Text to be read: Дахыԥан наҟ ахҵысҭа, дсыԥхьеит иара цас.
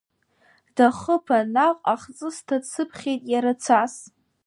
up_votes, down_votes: 2, 0